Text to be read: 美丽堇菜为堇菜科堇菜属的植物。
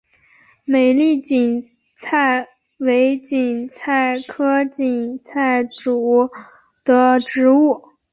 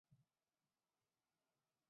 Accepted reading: first